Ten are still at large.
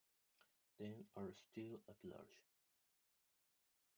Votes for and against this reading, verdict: 1, 2, rejected